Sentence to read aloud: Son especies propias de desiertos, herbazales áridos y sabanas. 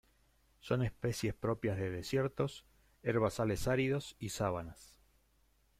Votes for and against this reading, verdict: 0, 2, rejected